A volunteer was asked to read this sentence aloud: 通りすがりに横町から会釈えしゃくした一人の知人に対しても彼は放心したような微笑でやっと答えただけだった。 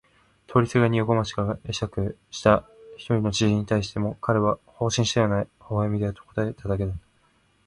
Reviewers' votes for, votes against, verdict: 8, 8, rejected